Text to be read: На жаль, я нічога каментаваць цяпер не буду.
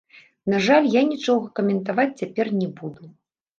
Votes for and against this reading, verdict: 0, 2, rejected